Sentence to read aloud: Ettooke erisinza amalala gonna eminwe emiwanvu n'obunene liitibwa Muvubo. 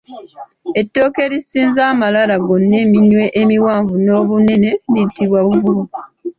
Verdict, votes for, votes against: rejected, 1, 2